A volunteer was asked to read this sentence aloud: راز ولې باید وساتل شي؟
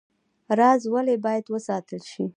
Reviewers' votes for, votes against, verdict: 2, 0, accepted